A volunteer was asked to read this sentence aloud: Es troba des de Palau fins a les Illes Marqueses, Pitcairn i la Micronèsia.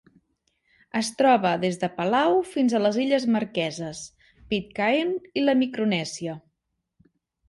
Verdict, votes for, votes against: accepted, 2, 0